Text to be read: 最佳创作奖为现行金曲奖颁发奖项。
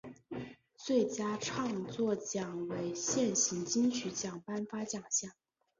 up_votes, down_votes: 2, 0